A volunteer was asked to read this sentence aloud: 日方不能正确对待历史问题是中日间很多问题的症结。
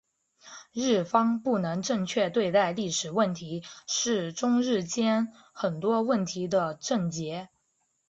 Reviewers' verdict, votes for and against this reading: rejected, 0, 2